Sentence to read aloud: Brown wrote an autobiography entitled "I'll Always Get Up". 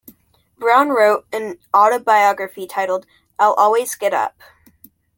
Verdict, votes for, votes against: accepted, 2, 0